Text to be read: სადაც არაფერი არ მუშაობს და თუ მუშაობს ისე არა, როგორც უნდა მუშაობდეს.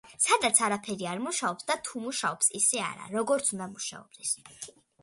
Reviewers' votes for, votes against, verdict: 2, 0, accepted